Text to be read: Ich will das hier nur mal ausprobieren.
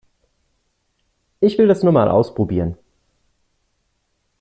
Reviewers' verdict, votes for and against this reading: rejected, 0, 2